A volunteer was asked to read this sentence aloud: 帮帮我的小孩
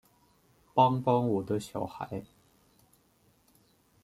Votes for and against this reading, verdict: 2, 0, accepted